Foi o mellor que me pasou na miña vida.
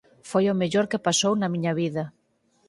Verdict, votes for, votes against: rejected, 2, 4